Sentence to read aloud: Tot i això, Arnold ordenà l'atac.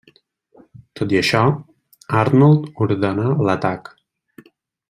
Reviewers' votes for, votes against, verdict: 3, 0, accepted